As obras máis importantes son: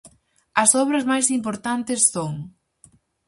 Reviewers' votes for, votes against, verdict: 4, 0, accepted